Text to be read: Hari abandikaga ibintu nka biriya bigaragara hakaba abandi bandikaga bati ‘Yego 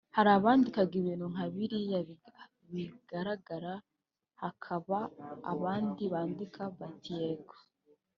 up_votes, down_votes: 0, 2